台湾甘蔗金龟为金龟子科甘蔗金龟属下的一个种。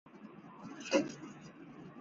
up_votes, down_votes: 0, 2